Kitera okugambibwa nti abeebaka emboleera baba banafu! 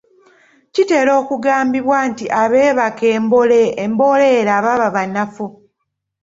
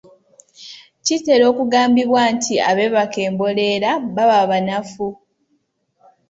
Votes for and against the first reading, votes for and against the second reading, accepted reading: 1, 2, 2, 0, second